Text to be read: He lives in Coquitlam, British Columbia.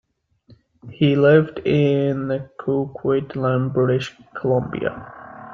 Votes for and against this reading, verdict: 2, 1, accepted